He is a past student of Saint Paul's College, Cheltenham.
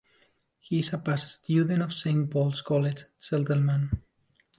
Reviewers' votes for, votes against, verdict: 1, 2, rejected